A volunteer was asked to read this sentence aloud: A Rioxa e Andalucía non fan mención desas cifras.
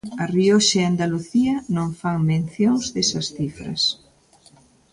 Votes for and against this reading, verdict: 0, 2, rejected